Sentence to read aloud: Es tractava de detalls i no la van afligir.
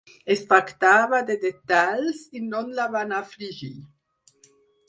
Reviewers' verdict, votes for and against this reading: rejected, 0, 4